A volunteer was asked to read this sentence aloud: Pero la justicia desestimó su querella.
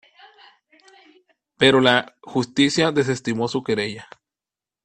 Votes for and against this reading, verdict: 2, 1, accepted